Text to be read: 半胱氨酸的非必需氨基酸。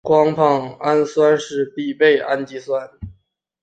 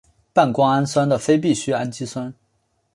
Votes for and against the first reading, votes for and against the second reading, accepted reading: 0, 4, 4, 0, second